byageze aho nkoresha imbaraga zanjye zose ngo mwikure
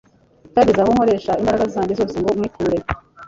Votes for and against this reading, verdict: 0, 2, rejected